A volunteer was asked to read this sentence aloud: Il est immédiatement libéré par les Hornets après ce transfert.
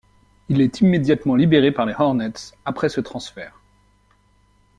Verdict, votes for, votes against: accepted, 2, 0